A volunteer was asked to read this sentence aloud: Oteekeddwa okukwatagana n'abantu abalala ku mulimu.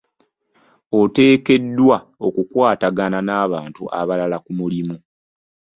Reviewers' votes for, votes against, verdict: 2, 0, accepted